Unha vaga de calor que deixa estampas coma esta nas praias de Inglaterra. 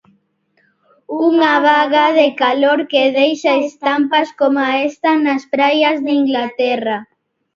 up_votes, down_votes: 0, 2